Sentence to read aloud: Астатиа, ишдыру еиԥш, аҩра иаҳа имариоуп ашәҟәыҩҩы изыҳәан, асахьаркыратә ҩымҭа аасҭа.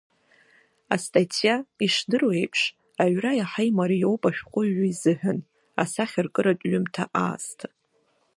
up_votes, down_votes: 2, 0